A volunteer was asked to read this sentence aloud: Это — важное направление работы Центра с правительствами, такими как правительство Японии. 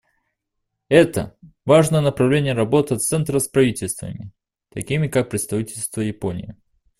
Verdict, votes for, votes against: rejected, 0, 2